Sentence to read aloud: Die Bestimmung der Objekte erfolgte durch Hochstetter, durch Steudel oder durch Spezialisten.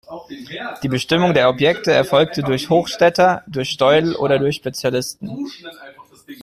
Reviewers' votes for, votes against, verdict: 2, 1, accepted